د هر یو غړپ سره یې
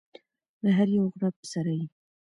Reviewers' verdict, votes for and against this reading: rejected, 1, 2